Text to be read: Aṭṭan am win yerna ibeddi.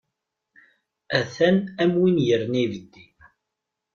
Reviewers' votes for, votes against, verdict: 0, 2, rejected